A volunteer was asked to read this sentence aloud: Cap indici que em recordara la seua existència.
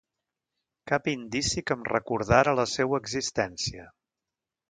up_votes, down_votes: 2, 0